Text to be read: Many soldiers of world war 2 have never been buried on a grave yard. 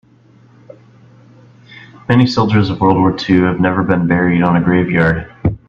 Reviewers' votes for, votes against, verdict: 0, 2, rejected